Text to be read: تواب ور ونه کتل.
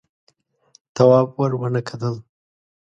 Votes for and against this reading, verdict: 2, 0, accepted